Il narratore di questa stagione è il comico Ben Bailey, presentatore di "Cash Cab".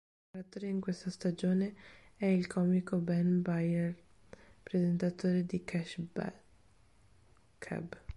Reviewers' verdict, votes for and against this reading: rejected, 0, 2